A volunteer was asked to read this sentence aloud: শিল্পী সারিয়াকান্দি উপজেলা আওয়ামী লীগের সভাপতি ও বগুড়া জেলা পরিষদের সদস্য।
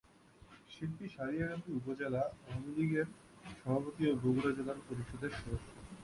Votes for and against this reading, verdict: 0, 2, rejected